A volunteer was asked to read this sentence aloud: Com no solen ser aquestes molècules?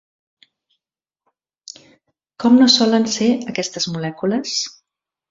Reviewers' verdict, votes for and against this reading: rejected, 1, 2